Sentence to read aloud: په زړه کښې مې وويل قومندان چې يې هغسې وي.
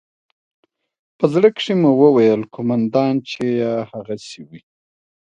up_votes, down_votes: 2, 0